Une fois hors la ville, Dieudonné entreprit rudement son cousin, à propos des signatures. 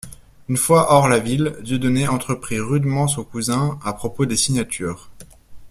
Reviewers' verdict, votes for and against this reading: accepted, 2, 0